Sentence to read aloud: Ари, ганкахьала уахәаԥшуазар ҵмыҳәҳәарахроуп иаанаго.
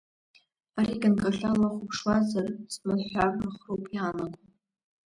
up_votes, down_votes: 2, 1